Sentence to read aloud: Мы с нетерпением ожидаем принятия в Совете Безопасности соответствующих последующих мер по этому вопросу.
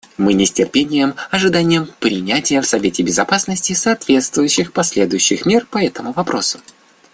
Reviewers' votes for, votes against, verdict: 0, 2, rejected